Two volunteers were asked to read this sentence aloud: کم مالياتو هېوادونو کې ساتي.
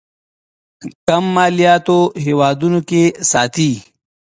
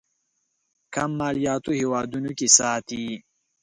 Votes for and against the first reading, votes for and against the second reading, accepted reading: 2, 0, 0, 2, first